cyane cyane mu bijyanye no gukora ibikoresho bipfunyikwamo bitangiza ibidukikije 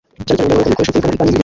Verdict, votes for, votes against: rejected, 0, 2